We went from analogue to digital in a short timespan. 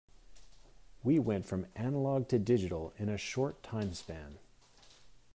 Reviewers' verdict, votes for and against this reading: accepted, 2, 0